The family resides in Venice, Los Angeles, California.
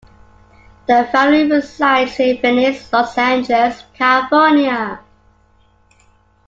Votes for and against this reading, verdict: 2, 1, accepted